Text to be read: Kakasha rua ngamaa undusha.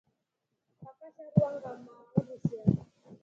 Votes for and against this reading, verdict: 0, 2, rejected